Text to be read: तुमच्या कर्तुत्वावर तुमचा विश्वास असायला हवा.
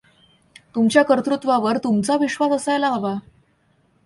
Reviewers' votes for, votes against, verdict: 2, 0, accepted